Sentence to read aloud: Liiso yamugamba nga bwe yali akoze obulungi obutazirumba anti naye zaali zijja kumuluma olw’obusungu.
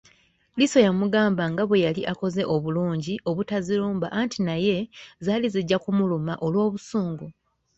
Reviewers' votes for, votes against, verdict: 2, 0, accepted